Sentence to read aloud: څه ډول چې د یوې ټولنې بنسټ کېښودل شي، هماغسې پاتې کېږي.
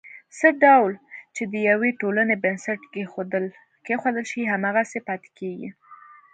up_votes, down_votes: 2, 0